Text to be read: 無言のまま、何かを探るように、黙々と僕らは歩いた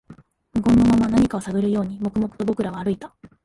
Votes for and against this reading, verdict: 1, 2, rejected